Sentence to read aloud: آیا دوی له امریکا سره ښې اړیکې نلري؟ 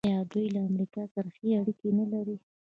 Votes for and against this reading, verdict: 1, 2, rejected